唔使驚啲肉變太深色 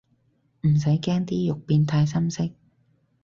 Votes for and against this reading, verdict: 8, 0, accepted